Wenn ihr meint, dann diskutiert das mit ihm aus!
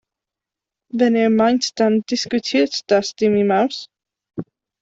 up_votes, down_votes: 0, 2